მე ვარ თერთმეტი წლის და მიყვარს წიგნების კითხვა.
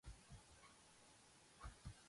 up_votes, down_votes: 0, 2